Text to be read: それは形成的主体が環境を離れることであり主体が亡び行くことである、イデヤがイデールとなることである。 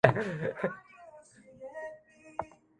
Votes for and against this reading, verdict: 0, 2, rejected